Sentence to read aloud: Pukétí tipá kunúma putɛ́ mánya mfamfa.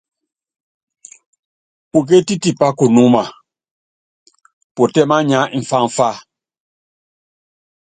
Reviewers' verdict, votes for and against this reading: accepted, 2, 0